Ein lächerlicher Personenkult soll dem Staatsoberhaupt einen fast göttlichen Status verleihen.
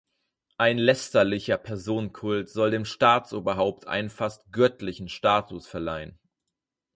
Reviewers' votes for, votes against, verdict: 0, 4, rejected